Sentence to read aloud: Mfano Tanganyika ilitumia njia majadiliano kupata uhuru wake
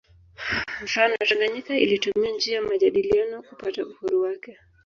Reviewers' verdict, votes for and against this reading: accepted, 2, 0